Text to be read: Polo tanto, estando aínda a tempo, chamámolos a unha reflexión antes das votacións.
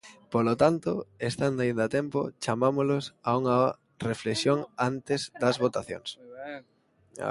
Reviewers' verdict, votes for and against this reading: rejected, 0, 2